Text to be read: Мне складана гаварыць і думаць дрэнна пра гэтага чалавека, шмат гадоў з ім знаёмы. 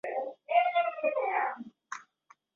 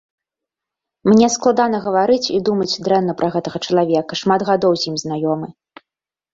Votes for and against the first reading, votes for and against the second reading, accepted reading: 0, 2, 2, 0, second